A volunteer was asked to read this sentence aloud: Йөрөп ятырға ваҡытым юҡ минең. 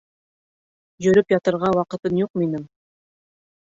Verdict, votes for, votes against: rejected, 0, 2